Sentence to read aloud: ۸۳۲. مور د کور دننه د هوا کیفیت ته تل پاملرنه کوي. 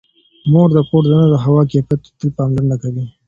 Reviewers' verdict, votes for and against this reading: rejected, 0, 2